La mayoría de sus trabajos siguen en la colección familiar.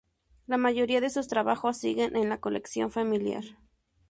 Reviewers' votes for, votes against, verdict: 2, 0, accepted